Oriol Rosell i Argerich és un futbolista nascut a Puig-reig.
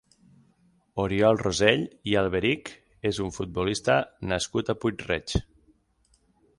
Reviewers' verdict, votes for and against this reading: rejected, 0, 6